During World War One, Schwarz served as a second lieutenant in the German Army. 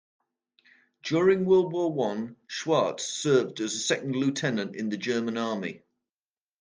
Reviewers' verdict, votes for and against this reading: rejected, 1, 2